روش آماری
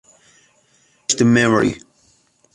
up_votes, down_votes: 0, 2